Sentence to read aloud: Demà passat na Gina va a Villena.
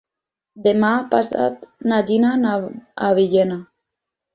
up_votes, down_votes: 0, 4